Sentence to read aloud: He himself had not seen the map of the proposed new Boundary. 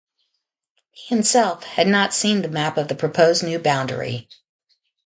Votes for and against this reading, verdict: 0, 2, rejected